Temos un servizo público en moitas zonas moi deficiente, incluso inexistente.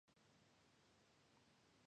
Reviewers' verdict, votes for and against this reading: rejected, 0, 2